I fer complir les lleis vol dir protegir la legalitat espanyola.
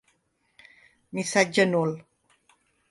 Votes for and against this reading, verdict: 0, 3, rejected